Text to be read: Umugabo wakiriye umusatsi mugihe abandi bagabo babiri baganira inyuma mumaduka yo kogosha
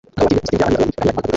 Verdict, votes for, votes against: rejected, 0, 2